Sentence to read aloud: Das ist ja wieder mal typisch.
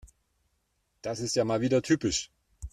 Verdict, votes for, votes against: rejected, 1, 2